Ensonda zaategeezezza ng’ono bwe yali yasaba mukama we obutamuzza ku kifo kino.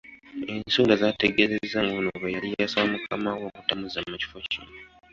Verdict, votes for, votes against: rejected, 0, 2